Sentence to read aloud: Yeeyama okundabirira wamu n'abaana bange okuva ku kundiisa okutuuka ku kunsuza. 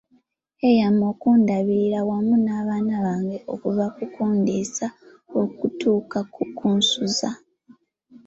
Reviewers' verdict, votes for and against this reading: accepted, 2, 0